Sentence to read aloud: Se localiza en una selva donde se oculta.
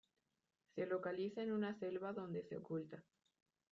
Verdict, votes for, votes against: rejected, 1, 2